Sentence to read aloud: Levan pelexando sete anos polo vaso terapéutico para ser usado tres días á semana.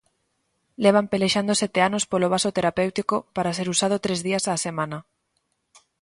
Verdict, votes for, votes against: accepted, 2, 0